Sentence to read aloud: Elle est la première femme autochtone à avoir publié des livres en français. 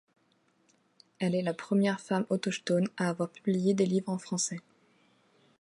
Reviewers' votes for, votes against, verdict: 1, 3, rejected